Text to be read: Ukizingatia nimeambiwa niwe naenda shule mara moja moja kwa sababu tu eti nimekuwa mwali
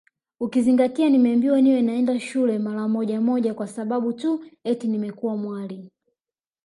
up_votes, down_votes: 0, 2